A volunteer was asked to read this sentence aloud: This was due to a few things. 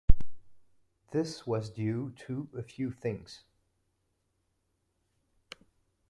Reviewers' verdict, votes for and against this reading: accepted, 2, 0